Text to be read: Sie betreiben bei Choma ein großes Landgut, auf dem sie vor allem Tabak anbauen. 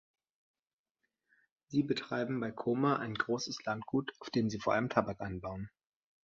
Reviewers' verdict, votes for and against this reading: accepted, 2, 0